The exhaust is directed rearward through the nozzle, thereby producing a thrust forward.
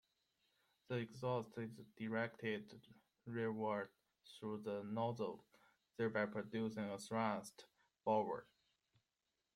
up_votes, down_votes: 2, 0